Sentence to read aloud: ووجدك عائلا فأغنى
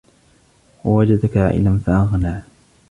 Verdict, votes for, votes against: rejected, 1, 2